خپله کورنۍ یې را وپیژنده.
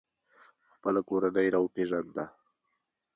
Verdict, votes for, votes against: accepted, 2, 1